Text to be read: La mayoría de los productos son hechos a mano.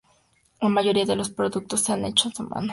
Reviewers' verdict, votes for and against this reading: accepted, 2, 0